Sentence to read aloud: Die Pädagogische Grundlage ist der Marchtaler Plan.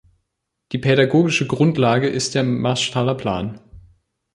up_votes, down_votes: 0, 2